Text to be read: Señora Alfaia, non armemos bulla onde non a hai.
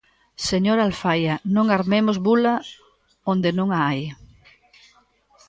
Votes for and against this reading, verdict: 0, 2, rejected